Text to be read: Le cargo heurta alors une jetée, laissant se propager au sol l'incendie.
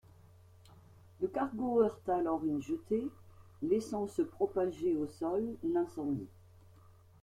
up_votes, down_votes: 2, 0